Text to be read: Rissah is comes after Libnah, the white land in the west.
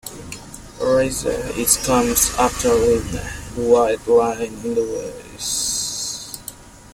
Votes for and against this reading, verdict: 1, 2, rejected